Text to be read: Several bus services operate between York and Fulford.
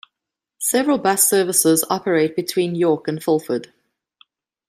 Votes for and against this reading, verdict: 1, 2, rejected